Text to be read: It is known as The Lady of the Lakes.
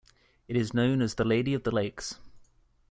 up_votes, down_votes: 2, 1